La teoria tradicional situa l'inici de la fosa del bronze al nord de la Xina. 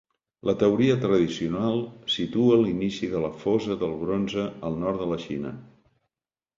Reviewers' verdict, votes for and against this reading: accepted, 2, 0